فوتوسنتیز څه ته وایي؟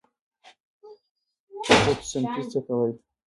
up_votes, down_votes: 0, 2